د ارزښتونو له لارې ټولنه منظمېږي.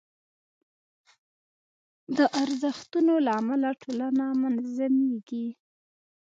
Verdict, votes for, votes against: rejected, 1, 2